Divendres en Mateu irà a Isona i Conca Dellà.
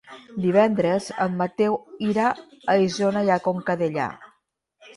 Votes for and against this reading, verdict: 2, 0, accepted